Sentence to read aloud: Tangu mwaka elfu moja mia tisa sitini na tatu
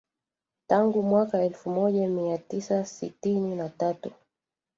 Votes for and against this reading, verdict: 1, 2, rejected